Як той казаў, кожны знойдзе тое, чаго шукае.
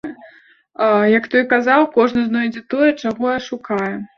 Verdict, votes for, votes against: rejected, 0, 2